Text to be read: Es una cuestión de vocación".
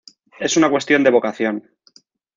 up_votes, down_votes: 2, 0